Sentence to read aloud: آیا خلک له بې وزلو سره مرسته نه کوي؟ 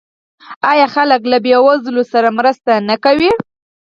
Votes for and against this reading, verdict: 2, 4, rejected